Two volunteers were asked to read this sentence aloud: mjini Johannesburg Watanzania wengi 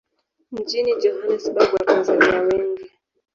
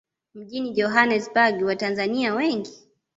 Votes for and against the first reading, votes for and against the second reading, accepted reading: 1, 2, 2, 0, second